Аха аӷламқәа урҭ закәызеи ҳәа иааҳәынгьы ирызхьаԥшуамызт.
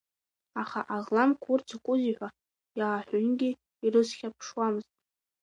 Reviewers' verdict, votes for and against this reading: rejected, 1, 2